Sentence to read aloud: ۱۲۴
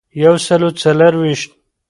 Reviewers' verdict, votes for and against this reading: rejected, 0, 2